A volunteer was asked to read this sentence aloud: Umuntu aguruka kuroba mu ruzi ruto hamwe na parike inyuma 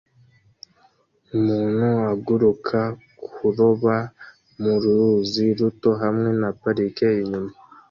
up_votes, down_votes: 2, 0